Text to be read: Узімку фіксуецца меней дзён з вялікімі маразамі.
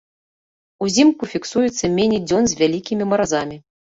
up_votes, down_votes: 2, 0